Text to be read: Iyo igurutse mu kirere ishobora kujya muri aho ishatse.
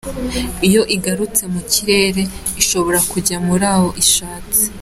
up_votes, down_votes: 0, 2